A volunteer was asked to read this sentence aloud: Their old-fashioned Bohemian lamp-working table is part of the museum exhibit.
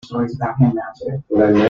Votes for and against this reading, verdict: 0, 2, rejected